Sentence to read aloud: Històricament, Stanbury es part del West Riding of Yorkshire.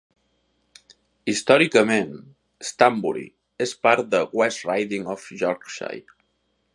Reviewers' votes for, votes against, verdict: 3, 1, accepted